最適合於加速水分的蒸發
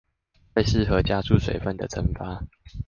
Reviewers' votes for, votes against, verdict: 1, 2, rejected